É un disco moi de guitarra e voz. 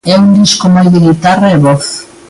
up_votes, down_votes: 2, 1